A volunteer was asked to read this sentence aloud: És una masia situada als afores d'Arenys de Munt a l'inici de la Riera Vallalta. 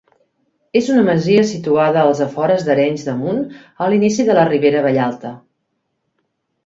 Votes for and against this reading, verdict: 1, 2, rejected